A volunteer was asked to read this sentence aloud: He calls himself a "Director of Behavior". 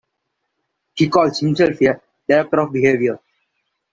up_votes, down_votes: 1, 2